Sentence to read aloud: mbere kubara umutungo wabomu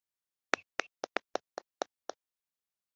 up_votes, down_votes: 1, 2